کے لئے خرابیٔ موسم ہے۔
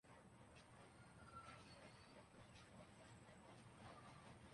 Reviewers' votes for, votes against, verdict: 0, 3, rejected